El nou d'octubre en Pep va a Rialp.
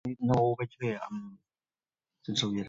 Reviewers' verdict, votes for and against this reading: rejected, 2, 4